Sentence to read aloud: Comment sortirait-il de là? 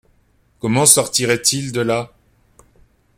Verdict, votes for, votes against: accepted, 2, 0